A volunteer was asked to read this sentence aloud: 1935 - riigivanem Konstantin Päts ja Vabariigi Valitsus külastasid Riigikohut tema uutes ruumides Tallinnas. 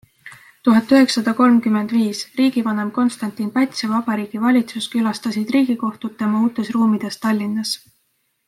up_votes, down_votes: 0, 2